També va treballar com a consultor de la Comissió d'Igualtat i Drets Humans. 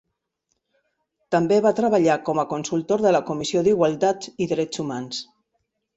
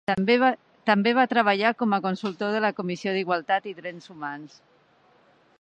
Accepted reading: first